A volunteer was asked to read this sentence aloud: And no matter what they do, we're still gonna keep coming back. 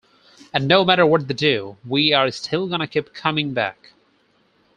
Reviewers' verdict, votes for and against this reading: accepted, 4, 0